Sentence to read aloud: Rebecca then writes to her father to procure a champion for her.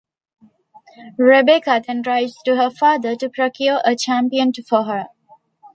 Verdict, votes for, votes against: accepted, 2, 0